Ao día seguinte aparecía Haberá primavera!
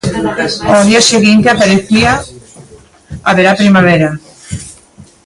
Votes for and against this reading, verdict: 0, 2, rejected